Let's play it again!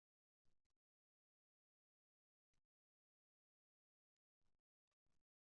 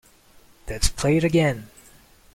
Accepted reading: second